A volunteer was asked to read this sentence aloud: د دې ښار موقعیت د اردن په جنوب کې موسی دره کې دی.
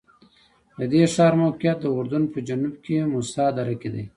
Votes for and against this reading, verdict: 2, 0, accepted